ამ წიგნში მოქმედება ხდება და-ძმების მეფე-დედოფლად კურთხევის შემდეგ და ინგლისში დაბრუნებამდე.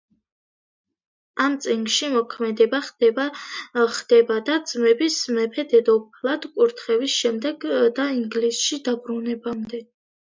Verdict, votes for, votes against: rejected, 1, 2